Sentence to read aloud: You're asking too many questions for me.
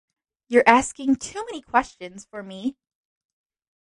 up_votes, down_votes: 4, 0